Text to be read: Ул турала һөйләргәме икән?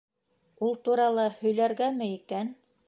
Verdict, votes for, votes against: accepted, 2, 1